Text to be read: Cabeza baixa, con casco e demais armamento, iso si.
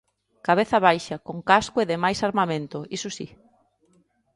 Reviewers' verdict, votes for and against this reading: accepted, 2, 0